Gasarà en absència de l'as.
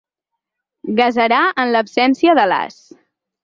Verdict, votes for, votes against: rejected, 2, 4